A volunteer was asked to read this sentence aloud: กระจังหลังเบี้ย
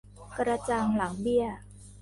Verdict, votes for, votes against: rejected, 0, 2